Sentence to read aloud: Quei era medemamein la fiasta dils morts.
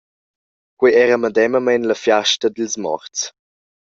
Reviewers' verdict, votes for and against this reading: accepted, 2, 1